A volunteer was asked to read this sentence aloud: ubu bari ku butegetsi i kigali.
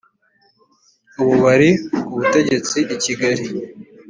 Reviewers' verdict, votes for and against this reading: accepted, 2, 0